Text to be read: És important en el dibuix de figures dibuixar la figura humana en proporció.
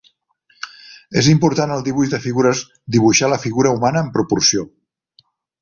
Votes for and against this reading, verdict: 0, 3, rejected